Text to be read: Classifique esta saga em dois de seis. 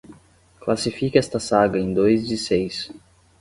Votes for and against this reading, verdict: 10, 0, accepted